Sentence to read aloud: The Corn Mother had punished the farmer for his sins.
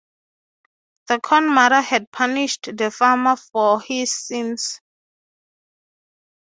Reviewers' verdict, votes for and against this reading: accepted, 3, 0